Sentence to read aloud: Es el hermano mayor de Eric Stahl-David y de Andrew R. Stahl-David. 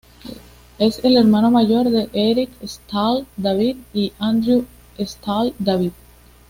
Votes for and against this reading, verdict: 2, 0, accepted